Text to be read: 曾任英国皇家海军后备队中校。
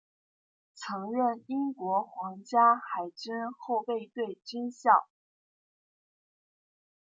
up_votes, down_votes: 0, 2